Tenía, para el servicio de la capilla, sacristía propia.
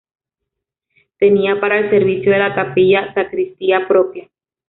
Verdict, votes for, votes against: accepted, 2, 1